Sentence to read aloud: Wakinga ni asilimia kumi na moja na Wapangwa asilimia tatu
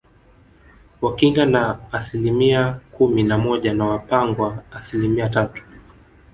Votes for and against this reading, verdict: 2, 0, accepted